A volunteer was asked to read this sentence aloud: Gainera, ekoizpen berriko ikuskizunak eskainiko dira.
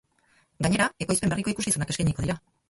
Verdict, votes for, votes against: rejected, 0, 2